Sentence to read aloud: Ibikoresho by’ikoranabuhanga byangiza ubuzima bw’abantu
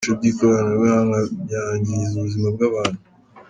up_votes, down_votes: 1, 2